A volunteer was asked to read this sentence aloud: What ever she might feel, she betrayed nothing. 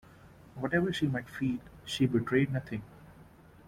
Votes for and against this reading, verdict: 1, 2, rejected